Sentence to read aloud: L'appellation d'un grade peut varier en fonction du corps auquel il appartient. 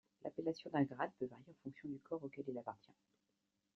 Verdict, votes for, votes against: rejected, 0, 2